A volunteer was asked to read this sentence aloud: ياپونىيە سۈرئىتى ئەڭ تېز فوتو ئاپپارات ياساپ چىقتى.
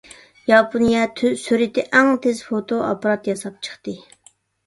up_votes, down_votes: 0, 2